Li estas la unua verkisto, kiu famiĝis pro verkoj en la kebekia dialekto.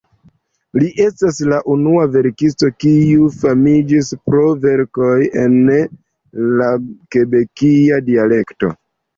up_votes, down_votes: 2, 0